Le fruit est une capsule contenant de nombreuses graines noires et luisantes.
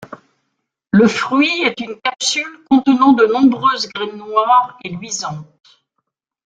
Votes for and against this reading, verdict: 0, 2, rejected